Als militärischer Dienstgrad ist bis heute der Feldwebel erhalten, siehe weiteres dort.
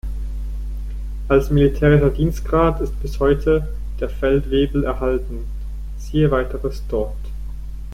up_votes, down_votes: 1, 2